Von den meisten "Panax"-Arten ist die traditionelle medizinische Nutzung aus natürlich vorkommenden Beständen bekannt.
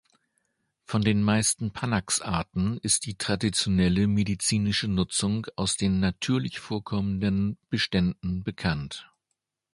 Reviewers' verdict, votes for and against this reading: rejected, 1, 2